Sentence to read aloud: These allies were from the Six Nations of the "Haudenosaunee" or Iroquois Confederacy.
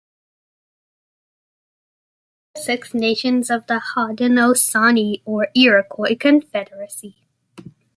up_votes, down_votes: 1, 2